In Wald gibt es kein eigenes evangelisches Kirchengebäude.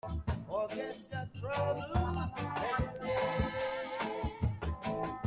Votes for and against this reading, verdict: 0, 2, rejected